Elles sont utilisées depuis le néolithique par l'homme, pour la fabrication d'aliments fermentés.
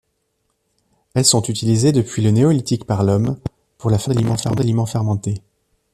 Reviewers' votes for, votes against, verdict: 0, 2, rejected